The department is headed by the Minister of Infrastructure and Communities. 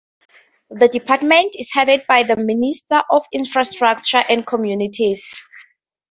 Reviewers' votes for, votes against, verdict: 2, 0, accepted